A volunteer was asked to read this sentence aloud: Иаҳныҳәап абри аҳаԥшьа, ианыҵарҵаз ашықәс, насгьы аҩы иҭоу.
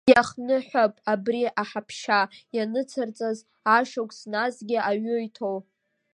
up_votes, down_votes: 1, 2